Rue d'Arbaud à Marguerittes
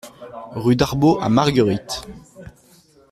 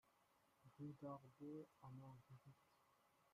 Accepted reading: first